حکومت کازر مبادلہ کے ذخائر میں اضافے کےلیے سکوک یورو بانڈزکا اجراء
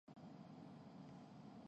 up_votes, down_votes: 0, 3